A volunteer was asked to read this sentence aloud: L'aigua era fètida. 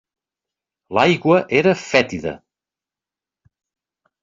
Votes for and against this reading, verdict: 3, 0, accepted